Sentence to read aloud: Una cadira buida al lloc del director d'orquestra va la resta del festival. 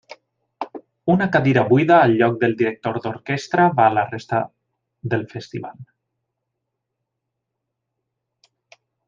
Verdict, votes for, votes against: rejected, 1, 2